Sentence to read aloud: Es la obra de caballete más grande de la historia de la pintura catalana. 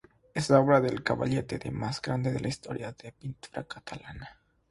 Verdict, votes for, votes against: rejected, 0, 3